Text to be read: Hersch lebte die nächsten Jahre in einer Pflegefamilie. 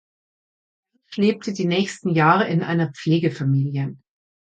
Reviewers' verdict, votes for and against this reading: rejected, 0, 2